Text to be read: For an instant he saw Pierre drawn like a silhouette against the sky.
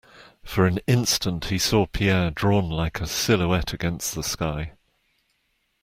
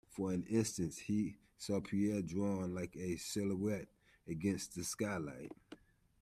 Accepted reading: first